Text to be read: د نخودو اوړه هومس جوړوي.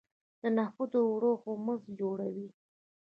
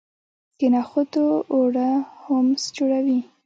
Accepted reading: second